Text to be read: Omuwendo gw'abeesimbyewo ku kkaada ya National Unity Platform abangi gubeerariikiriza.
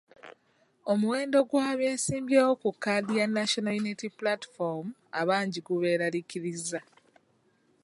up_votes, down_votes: 1, 2